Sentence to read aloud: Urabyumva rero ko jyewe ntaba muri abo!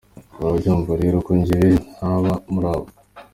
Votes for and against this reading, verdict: 2, 0, accepted